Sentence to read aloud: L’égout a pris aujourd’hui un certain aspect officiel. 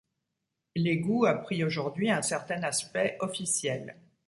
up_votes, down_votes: 2, 0